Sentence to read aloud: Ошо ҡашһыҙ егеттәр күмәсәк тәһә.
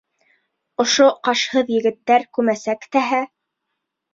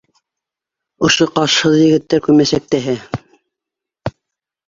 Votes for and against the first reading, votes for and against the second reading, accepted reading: 2, 0, 1, 2, first